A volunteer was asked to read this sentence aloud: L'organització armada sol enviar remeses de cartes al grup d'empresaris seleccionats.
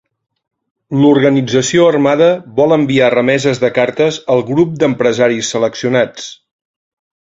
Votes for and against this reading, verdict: 0, 2, rejected